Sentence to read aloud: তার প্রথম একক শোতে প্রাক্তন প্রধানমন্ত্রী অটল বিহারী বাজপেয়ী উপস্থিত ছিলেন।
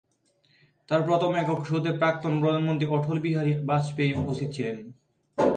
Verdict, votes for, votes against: rejected, 0, 2